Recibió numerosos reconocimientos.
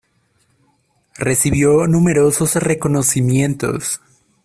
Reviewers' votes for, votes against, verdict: 2, 0, accepted